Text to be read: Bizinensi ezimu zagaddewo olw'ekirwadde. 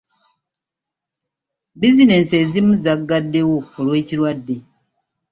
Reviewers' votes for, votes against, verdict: 2, 0, accepted